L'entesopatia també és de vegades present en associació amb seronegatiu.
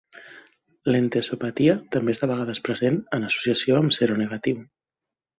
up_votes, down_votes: 3, 0